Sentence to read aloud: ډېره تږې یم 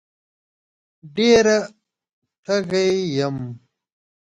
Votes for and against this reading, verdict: 1, 2, rejected